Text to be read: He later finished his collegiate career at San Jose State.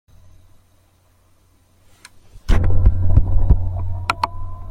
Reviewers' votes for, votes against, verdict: 0, 2, rejected